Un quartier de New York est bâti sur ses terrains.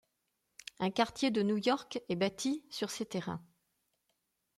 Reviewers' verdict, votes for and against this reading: accepted, 2, 0